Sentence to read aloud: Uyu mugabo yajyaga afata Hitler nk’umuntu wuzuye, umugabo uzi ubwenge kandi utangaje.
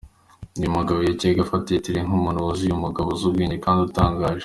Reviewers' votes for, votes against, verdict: 2, 1, accepted